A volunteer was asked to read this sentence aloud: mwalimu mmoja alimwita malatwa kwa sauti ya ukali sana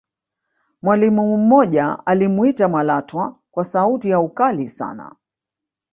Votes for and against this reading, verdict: 1, 2, rejected